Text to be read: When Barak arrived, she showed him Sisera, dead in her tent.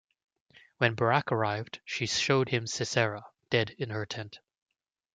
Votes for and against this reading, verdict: 2, 0, accepted